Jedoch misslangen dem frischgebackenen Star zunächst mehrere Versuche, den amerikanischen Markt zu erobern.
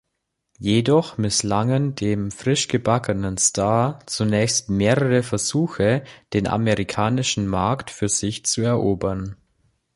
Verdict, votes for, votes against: rejected, 0, 2